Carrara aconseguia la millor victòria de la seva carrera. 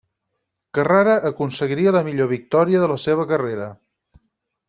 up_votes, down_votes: 2, 4